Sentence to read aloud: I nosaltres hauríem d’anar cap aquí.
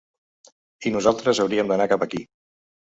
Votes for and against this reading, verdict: 2, 0, accepted